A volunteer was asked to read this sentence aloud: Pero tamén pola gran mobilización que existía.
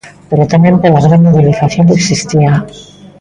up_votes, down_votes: 1, 2